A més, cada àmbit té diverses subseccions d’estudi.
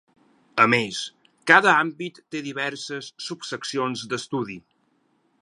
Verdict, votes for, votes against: accepted, 8, 0